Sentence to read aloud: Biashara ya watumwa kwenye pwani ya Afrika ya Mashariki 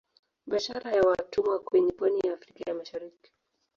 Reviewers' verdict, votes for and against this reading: rejected, 1, 2